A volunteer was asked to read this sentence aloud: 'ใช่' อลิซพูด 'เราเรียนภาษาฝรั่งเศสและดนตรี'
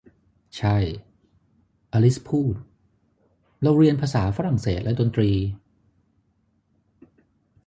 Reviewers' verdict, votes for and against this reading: accepted, 3, 0